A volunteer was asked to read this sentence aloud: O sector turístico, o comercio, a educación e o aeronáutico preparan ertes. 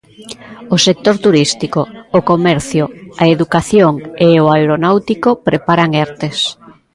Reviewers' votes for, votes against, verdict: 0, 2, rejected